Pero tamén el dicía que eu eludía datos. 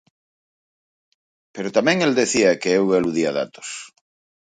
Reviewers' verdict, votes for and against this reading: rejected, 0, 4